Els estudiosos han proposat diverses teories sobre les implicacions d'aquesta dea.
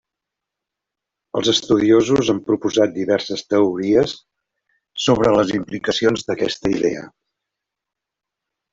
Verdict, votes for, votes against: rejected, 0, 2